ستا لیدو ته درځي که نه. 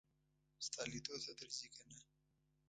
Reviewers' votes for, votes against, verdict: 1, 2, rejected